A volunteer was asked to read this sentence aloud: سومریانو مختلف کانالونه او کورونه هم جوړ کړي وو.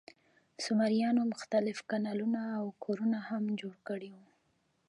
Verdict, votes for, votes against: accepted, 2, 0